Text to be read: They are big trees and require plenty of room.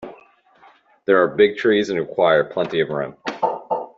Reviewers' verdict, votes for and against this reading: rejected, 0, 2